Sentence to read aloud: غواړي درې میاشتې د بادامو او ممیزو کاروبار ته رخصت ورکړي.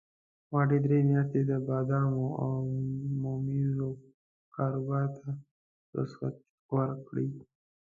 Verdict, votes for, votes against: rejected, 1, 2